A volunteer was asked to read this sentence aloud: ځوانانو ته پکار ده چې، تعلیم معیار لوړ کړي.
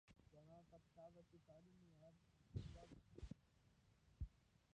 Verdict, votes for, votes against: rejected, 0, 2